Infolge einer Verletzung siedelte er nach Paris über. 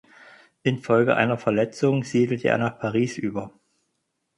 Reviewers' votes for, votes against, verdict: 4, 0, accepted